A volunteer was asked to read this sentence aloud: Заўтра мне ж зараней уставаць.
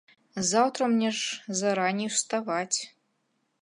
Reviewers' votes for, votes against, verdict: 2, 0, accepted